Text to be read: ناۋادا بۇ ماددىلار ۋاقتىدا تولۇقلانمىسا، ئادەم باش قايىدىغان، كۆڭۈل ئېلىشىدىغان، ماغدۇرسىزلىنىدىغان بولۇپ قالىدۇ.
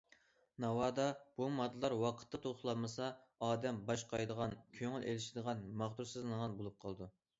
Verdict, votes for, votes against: rejected, 1, 2